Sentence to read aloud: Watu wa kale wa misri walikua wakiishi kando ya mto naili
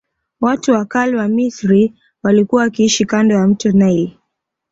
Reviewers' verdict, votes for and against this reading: accepted, 2, 0